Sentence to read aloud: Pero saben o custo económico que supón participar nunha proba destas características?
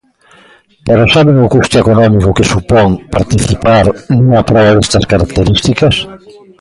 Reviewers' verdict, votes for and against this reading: rejected, 0, 2